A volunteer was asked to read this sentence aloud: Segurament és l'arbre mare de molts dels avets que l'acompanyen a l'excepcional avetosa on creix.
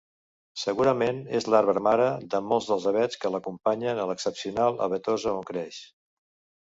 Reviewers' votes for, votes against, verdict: 2, 0, accepted